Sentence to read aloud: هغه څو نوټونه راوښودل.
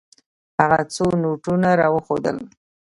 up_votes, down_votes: 2, 0